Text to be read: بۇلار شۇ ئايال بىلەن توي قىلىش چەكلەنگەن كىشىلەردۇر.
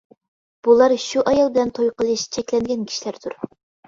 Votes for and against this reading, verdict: 2, 0, accepted